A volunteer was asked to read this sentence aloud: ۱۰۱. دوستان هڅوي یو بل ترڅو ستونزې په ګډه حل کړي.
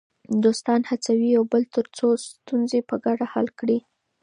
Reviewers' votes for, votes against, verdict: 0, 2, rejected